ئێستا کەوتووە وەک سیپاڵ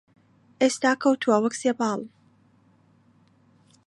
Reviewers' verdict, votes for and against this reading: rejected, 1, 2